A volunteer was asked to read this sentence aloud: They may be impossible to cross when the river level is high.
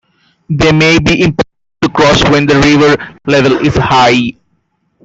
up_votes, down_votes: 0, 2